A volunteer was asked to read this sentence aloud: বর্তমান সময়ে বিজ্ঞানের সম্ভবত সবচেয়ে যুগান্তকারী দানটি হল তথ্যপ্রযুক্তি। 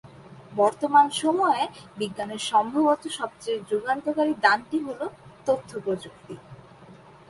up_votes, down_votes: 5, 0